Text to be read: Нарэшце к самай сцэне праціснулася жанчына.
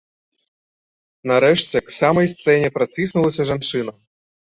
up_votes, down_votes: 2, 0